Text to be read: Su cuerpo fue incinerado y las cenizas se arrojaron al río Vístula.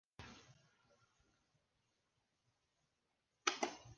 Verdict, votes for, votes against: rejected, 0, 2